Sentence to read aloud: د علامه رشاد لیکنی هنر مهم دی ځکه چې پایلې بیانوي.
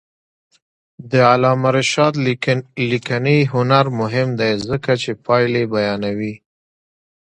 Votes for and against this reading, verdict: 1, 2, rejected